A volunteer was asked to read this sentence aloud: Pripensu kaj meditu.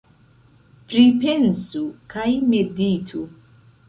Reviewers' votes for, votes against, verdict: 0, 2, rejected